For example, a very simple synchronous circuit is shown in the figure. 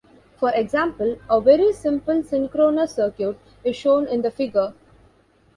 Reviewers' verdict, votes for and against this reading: accepted, 2, 0